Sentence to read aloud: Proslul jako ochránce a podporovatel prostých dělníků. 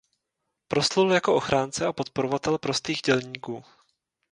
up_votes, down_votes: 2, 0